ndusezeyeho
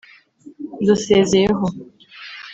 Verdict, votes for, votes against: rejected, 1, 2